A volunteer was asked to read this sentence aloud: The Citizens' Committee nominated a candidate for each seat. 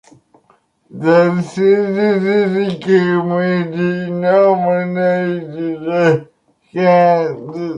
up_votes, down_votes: 0, 2